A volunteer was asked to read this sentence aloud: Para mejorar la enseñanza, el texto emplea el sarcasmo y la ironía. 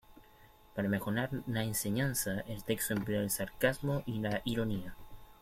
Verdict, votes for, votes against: rejected, 0, 2